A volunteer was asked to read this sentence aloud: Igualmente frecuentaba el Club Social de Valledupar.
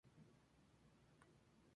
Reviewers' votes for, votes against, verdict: 0, 2, rejected